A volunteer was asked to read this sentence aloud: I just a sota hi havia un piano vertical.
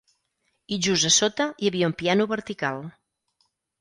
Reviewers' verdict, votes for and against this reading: accepted, 4, 0